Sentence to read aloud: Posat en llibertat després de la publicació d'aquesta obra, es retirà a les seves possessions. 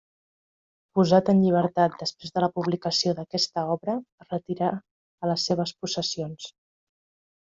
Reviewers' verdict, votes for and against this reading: rejected, 0, 2